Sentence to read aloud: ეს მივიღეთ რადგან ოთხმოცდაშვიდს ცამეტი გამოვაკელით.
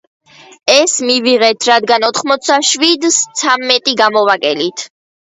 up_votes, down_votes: 2, 0